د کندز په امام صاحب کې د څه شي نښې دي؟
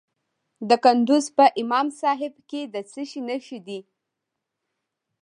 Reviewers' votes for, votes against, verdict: 1, 2, rejected